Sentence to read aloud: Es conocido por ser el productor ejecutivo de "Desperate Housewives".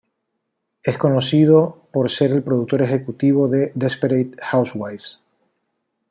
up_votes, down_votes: 1, 2